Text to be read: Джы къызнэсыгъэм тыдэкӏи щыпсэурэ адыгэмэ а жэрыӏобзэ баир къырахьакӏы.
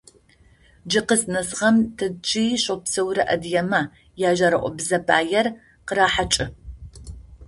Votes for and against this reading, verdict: 0, 2, rejected